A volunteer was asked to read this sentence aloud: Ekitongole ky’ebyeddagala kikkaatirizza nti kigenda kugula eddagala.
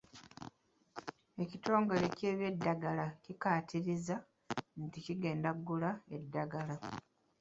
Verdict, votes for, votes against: accepted, 2, 0